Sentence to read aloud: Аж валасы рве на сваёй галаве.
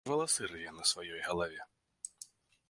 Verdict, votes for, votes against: rejected, 0, 2